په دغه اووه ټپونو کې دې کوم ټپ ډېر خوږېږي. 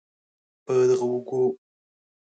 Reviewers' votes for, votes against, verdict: 0, 2, rejected